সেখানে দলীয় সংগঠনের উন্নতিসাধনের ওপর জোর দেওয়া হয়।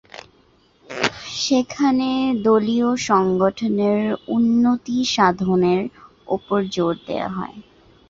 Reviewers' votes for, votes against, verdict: 10, 2, accepted